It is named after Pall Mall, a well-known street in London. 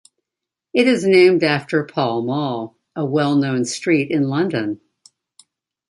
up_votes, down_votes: 2, 0